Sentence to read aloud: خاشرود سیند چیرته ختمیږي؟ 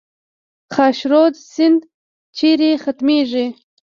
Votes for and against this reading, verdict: 2, 0, accepted